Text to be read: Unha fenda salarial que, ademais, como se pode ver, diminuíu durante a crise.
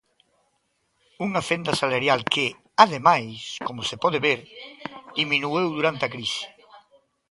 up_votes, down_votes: 1, 2